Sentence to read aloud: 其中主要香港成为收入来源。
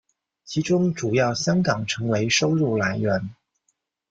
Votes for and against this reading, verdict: 2, 0, accepted